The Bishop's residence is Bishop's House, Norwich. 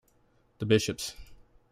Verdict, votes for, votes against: rejected, 0, 2